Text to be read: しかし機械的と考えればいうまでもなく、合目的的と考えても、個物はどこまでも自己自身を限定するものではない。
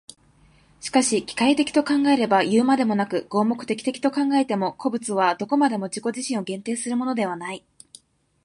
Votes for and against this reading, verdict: 4, 0, accepted